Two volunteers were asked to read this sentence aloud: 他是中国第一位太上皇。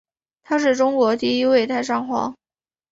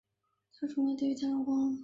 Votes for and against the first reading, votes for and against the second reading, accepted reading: 2, 0, 1, 2, first